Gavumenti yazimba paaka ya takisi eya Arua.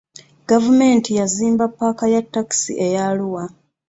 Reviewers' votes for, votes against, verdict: 2, 0, accepted